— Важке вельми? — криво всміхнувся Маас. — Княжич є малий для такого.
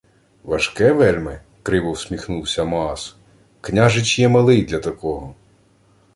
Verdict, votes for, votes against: accepted, 2, 0